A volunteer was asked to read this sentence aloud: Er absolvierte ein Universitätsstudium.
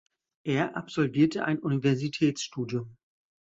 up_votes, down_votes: 2, 0